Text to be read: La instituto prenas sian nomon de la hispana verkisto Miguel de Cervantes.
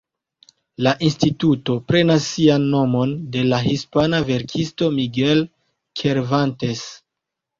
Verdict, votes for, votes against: rejected, 0, 2